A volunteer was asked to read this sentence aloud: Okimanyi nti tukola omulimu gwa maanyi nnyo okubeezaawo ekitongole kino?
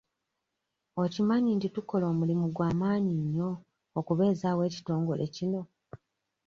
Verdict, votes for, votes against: accepted, 2, 0